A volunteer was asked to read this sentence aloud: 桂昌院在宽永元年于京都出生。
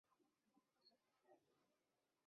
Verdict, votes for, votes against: rejected, 0, 2